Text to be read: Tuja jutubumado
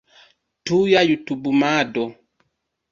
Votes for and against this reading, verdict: 1, 2, rejected